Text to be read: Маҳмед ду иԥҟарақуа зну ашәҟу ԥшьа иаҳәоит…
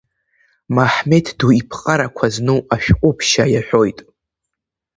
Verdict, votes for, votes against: accepted, 2, 0